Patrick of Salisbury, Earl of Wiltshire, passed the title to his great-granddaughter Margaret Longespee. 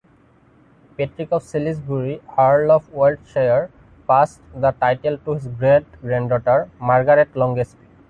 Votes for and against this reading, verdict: 2, 1, accepted